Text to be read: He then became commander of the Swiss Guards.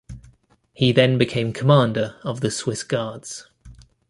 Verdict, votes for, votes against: accepted, 2, 0